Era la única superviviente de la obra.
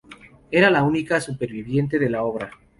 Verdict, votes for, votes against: accepted, 2, 0